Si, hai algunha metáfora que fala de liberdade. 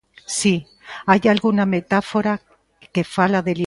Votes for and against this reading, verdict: 0, 2, rejected